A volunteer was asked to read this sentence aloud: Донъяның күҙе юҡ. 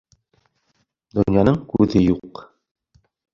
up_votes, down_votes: 3, 1